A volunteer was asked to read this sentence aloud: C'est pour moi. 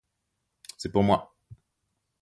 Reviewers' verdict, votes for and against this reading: accepted, 2, 0